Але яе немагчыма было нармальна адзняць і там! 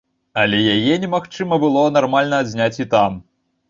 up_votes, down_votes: 2, 0